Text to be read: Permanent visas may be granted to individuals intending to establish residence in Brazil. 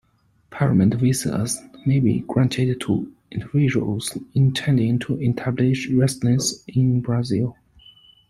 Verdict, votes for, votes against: rejected, 0, 2